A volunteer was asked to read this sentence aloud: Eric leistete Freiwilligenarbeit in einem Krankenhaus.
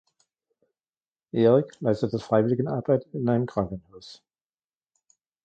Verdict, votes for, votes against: rejected, 1, 2